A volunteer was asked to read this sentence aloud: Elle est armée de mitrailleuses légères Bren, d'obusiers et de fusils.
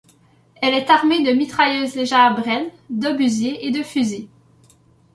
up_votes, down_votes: 3, 0